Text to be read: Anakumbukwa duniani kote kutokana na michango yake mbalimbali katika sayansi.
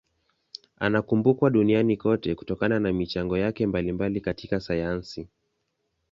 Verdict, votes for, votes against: accepted, 2, 0